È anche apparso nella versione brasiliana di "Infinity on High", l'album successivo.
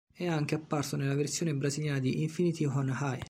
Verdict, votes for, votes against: rejected, 0, 2